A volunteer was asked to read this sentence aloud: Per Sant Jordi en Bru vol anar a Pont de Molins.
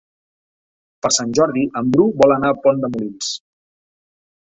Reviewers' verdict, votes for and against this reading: accepted, 3, 0